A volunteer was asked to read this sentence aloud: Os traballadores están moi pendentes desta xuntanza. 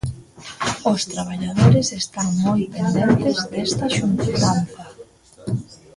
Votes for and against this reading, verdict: 0, 2, rejected